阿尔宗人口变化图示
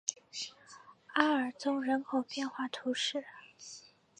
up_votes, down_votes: 2, 0